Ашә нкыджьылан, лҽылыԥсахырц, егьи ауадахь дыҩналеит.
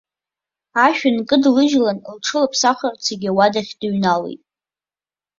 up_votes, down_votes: 1, 2